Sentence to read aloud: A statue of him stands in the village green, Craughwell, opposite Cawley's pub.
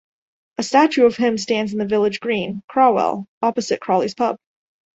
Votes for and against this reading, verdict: 1, 2, rejected